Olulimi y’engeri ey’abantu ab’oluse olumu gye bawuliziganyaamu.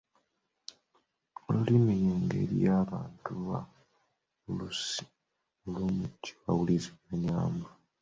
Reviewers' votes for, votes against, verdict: 0, 2, rejected